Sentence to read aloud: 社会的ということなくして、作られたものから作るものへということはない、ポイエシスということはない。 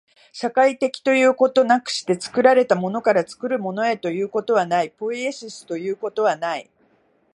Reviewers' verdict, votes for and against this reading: accepted, 2, 1